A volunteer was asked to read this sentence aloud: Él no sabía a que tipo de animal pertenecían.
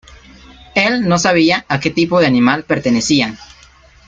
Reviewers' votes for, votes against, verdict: 2, 0, accepted